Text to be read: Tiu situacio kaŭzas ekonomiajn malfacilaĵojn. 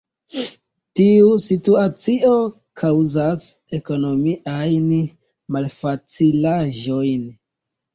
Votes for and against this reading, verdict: 0, 2, rejected